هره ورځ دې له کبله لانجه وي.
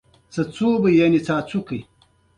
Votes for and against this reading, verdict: 2, 0, accepted